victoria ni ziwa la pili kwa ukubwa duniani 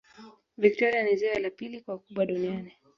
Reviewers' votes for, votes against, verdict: 2, 0, accepted